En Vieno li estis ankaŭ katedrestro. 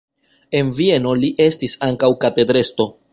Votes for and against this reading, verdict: 1, 2, rejected